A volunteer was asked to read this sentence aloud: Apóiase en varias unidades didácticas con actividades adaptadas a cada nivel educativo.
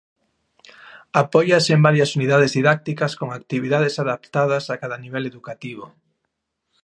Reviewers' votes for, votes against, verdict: 2, 0, accepted